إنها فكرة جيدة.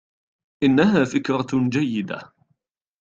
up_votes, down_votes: 2, 0